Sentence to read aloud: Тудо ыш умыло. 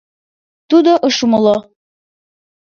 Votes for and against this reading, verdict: 2, 0, accepted